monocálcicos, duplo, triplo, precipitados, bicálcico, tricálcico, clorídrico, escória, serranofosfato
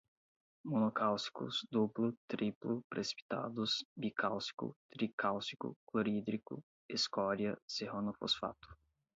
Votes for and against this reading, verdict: 8, 0, accepted